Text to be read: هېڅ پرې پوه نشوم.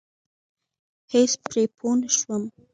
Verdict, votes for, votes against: accepted, 2, 0